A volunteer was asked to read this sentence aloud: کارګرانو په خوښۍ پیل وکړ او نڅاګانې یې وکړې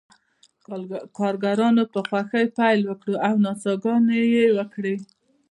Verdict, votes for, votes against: rejected, 1, 2